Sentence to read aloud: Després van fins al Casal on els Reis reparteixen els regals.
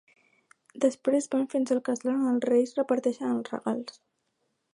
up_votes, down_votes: 0, 2